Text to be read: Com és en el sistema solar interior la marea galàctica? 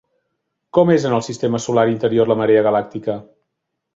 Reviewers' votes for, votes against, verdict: 3, 0, accepted